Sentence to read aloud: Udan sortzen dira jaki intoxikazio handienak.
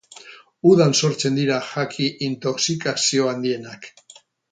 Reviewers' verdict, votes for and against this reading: rejected, 2, 2